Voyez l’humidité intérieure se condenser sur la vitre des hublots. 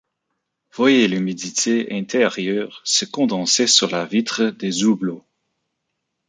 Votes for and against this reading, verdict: 0, 2, rejected